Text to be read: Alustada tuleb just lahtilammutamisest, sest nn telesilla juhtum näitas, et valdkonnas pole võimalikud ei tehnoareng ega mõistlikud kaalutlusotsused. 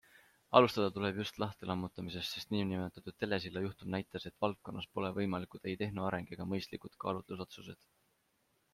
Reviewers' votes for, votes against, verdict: 2, 0, accepted